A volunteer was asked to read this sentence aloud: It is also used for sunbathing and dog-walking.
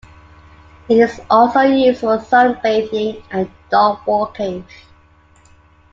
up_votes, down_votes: 2, 1